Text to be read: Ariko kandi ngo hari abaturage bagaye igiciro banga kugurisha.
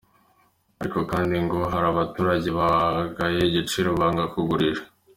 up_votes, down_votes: 2, 1